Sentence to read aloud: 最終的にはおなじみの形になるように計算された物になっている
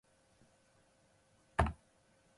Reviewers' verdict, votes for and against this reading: rejected, 1, 2